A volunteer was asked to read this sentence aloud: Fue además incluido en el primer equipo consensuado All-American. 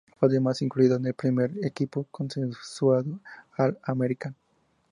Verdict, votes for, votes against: accepted, 2, 0